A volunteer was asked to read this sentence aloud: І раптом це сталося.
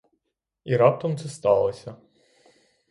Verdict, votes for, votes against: rejected, 3, 3